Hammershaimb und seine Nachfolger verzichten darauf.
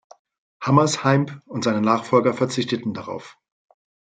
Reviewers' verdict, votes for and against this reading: rejected, 0, 2